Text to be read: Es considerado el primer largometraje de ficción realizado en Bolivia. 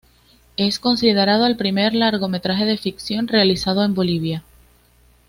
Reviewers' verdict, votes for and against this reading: accepted, 2, 0